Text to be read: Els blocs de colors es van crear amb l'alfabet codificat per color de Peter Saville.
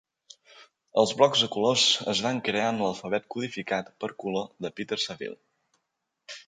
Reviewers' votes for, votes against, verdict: 2, 0, accepted